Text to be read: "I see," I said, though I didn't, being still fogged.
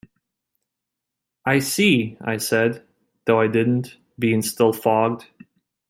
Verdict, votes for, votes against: accepted, 2, 0